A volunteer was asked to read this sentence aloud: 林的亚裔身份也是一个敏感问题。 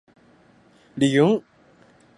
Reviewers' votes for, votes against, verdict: 0, 7, rejected